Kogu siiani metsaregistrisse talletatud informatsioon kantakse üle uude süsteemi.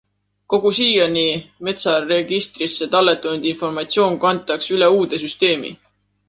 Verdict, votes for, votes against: accepted, 2, 0